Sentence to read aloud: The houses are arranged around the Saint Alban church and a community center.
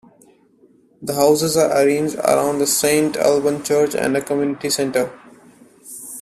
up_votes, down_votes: 1, 3